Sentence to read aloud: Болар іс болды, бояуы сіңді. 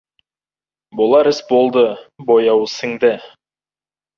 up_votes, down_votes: 2, 0